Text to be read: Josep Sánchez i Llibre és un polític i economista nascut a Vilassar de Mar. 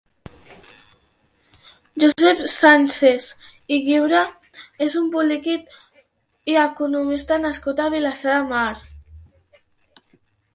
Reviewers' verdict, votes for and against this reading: accepted, 3, 0